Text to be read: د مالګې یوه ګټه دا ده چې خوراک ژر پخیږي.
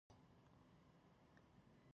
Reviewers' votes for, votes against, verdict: 0, 2, rejected